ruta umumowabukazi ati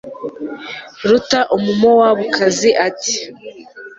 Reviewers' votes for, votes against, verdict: 2, 0, accepted